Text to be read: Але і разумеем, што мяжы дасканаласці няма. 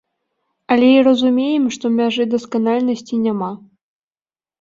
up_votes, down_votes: 0, 2